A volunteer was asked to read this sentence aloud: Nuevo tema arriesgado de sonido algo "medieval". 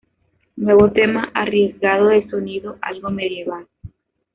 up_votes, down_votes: 2, 0